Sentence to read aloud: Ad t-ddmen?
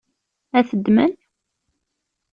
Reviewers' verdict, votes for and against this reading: accepted, 2, 0